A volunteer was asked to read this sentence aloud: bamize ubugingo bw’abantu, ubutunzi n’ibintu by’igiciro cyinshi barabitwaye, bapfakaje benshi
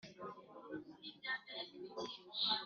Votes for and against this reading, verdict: 1, 2, rejected